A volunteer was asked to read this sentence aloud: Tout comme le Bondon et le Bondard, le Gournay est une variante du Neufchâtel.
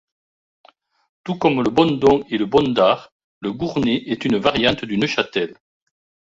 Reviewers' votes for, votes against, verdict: 1, 2, rejected